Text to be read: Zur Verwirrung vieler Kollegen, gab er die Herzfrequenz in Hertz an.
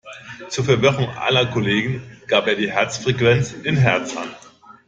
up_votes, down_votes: 0, 2